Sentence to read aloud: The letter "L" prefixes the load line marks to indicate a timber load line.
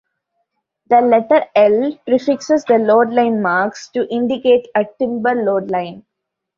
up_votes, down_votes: 2, 0